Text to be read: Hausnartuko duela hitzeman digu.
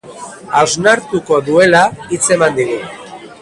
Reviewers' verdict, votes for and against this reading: accepted, 2, 0